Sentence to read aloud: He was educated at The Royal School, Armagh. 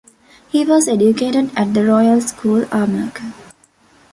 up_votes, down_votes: 2, 0